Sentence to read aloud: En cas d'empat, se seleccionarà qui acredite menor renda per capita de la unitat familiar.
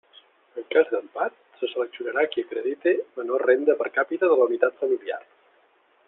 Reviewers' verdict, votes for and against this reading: rejected, 0, 2